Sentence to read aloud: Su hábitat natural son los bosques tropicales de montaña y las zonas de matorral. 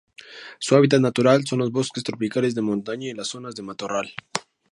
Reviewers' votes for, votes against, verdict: 2, 0, accepted